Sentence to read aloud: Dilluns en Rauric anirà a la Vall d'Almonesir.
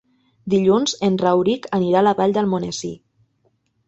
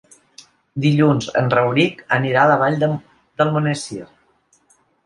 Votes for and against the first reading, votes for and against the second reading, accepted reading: 2, 0, 1, 2, first